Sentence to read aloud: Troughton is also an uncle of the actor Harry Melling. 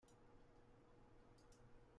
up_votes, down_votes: 0, 2